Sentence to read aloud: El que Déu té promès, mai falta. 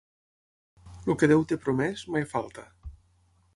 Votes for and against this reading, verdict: 3, 6, rejected